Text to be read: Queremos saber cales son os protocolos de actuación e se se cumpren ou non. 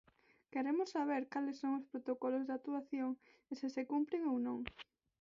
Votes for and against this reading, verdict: 4, 0, accepted